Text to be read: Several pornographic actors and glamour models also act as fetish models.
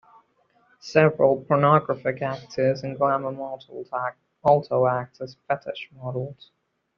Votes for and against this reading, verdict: 0, 2, rejected